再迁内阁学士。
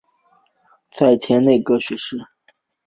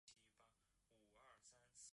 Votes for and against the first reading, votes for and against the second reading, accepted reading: 6, 2, 0, 2, first